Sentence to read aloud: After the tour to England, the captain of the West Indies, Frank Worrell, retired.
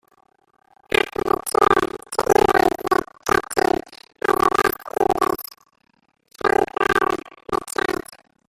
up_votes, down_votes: 0, 2